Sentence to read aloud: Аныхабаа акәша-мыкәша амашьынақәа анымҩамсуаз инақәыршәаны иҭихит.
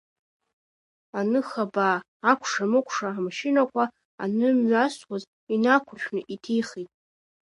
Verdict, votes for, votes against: accepted, 2, 0